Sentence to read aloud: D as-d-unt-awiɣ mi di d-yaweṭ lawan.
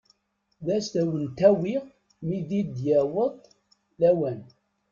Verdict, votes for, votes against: rejected, 0, 2